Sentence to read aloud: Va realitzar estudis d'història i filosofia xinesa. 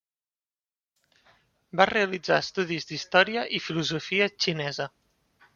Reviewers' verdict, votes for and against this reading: rejected, 1, 2